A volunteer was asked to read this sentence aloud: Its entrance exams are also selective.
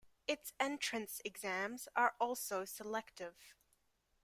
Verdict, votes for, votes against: rejected, 0, 2